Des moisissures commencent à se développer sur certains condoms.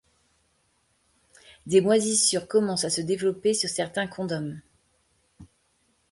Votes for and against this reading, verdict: 2, 0, accepted